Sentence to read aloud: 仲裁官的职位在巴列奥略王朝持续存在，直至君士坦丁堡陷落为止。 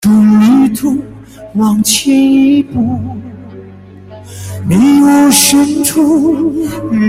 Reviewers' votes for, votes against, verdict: 0, 2, rejected